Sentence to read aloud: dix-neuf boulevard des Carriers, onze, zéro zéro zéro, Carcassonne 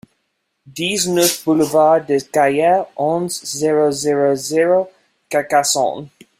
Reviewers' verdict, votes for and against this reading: rejected, 1, 2